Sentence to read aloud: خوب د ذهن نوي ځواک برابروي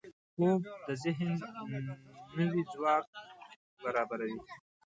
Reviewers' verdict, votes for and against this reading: rejected, 1, 2